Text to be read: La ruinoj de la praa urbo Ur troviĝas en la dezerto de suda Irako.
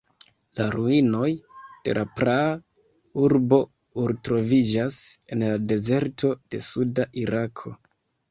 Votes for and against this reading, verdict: 1, 2, rejected